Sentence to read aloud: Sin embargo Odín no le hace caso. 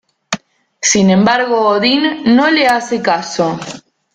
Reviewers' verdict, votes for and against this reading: rejected, 1, 2